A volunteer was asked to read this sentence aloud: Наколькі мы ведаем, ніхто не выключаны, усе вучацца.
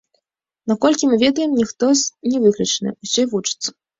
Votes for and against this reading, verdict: 1, 2, rejected